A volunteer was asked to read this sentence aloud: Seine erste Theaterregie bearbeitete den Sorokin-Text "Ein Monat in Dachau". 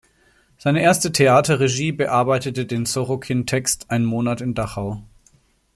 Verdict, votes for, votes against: accepted, 2, 0